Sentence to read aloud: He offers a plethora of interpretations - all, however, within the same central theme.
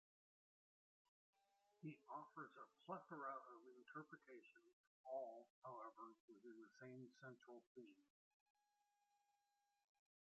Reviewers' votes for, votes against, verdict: 0, 2, rejected